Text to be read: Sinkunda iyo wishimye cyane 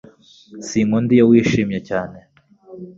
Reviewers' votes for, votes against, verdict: 2, 0, accepted